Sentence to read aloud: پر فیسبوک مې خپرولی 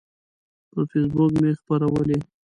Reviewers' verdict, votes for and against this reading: accepted, 2, 1